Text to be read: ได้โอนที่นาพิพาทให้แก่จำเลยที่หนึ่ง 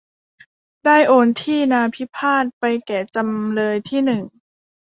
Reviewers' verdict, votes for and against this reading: accepted, 2, 1